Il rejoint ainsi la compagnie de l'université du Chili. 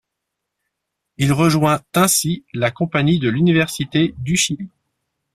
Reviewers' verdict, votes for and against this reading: accepted, 2, 0